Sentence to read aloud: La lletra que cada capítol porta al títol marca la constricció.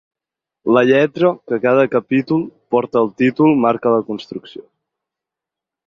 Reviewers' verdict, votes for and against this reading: accepted, 6, 2